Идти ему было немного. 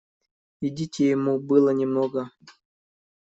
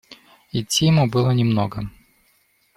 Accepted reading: second